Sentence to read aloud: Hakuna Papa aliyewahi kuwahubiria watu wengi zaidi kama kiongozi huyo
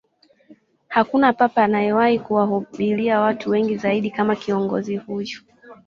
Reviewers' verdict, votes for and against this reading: rejected, 0, 2